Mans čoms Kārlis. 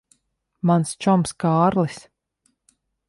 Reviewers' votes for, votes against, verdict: 2, 0, accepted